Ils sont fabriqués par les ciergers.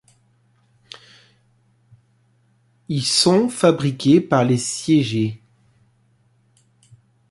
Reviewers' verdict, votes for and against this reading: rejected, 0, 2